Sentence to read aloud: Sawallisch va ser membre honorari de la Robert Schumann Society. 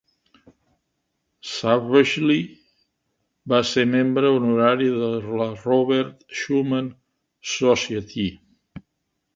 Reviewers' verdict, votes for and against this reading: rejected, 0, 2